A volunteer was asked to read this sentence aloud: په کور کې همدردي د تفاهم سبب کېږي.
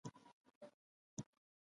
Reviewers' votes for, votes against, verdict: 1, 2, rejected